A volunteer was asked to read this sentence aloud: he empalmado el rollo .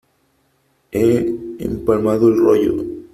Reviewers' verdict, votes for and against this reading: accepted, 3, 0